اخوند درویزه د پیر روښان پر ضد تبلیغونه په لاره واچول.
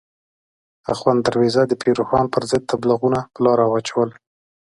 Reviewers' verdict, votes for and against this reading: accepted, 2, 0